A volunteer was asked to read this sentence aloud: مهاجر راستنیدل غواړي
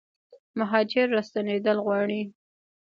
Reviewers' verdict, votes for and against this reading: rejected, 0, 2